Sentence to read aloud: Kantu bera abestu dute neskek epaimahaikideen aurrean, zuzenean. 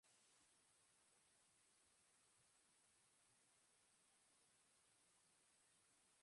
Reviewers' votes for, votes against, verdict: 0, 2, rejected